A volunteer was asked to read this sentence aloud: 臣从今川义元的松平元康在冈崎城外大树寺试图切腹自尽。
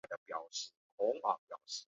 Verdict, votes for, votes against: rejected, 0, 2